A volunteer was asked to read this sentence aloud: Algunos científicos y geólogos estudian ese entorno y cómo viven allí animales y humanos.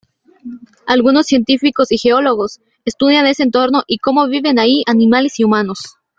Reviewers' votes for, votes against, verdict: 1, 2, rejected